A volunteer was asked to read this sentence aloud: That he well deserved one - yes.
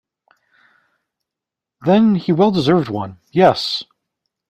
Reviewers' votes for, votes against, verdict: 1, 2, rejected